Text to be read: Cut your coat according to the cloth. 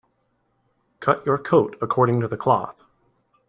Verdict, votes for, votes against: accepted, 2, 0